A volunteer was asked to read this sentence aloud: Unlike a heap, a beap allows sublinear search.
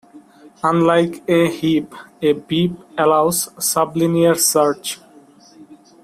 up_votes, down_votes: 2, 0